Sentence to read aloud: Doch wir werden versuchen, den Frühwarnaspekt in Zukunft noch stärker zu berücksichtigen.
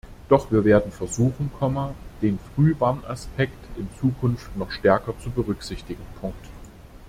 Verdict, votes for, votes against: rejected, 1, 2